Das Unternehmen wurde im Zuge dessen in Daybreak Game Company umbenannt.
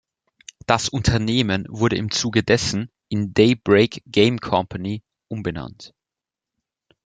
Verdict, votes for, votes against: accepted, 2, 0